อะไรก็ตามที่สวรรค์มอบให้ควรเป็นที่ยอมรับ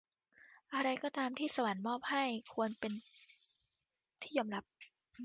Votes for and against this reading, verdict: 2, 0, accepted